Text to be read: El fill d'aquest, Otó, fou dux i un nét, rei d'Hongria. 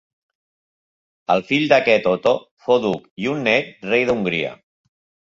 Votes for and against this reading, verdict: 0, 2, rejected